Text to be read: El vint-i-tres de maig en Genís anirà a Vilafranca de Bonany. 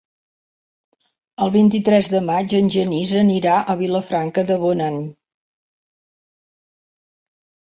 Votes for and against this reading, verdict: 2, 0, accepted